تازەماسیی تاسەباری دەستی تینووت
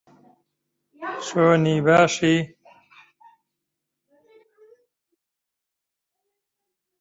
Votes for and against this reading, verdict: 0, 2, rejected